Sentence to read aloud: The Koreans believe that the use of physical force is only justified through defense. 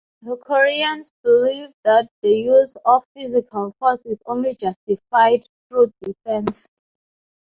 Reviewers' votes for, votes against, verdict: 3, 0, accepted